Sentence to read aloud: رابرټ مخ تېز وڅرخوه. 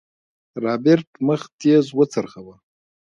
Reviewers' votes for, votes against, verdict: 0, 2, rejected